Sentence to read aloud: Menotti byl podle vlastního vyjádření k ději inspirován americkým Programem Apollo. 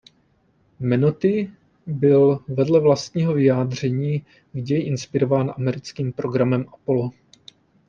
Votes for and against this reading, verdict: 0, 2, rejected